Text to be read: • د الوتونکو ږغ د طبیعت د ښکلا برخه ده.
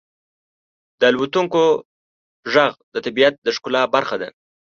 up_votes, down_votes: 3, 1